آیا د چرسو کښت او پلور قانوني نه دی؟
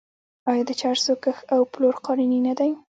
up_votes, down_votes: 0, 2